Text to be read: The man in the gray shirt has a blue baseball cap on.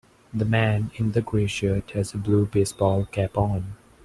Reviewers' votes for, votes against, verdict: 2, 0, accepted